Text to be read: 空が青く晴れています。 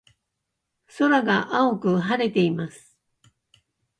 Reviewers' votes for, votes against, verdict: 2, 0, accepted